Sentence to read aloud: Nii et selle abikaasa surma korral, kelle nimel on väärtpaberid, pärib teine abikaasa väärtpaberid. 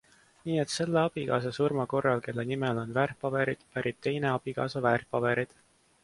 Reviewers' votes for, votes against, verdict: 2, 0, accepted